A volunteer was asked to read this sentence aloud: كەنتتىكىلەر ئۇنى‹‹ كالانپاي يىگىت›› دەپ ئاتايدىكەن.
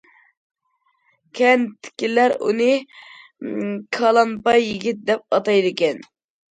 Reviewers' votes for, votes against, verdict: 1, 2, rejected